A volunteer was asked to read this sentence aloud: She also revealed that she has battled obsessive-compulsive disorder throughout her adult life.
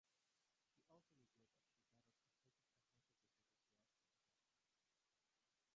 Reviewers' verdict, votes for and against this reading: rejected, 0, 2